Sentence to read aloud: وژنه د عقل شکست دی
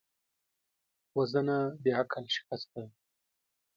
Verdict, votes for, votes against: accepted, 2, 0